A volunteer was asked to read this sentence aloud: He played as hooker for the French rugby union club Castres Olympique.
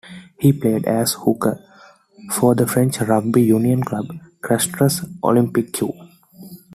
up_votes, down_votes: 1, 2